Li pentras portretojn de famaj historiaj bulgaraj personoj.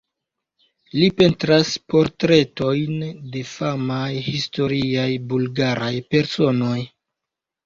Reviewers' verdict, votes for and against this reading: accepted, 2, 1